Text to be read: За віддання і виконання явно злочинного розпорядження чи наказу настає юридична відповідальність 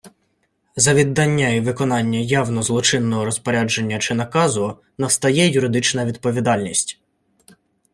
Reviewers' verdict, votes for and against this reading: accepted, 2, 0